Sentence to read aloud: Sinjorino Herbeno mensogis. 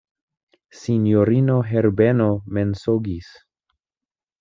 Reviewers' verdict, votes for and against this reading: accepted, 2, 0